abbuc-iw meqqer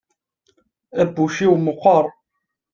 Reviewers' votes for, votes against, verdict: 2, 0, accepted